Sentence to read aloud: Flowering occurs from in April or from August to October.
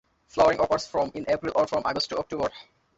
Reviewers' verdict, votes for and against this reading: rejected, 0, 2